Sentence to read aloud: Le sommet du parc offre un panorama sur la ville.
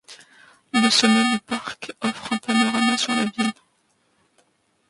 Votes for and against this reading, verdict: 0, 2, rejected